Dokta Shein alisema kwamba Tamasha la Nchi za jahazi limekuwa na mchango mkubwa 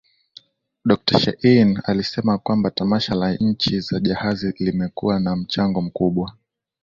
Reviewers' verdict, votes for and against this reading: accepted, 2, 0